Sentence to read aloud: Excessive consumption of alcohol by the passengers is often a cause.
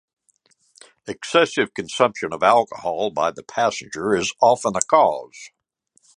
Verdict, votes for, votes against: rejected, 1, 2